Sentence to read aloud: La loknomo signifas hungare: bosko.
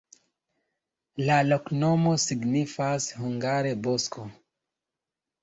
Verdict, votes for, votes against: rejected, 1, 2